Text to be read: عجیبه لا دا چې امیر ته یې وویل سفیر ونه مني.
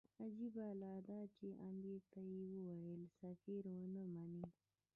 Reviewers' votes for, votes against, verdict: 2, 0, accepted